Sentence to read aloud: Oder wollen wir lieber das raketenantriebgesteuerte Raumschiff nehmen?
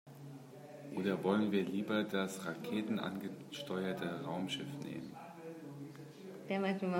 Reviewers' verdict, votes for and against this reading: rejected, 0, 2